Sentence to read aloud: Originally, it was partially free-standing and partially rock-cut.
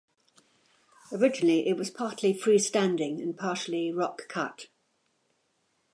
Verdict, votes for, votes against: accepted, 2, 0